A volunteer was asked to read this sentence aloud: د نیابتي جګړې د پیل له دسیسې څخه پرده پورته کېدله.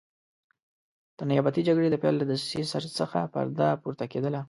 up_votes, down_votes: 2, 0